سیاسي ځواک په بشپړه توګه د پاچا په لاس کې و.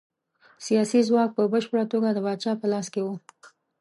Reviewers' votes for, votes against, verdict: 2, 0, accepted